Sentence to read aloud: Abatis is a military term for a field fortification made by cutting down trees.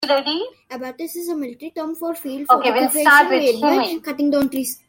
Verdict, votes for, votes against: rejected, 1, 2